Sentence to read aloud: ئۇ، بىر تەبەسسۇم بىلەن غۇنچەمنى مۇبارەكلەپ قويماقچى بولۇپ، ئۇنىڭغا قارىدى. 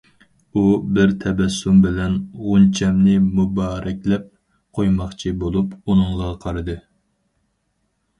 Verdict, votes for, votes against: accepted, 4, 0